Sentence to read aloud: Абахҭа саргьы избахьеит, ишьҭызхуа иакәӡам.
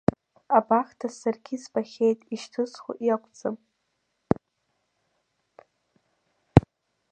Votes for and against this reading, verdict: 1, 2, rejected